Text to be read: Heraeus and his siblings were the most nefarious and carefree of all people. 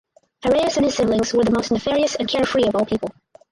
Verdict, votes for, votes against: rejected, 2, 4